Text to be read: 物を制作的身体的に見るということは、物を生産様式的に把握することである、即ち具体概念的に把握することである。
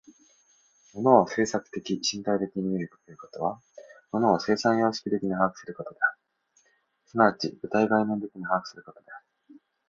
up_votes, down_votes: 2, 0